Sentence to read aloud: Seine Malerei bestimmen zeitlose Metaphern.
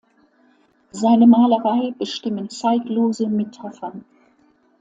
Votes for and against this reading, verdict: 2, 0, accepted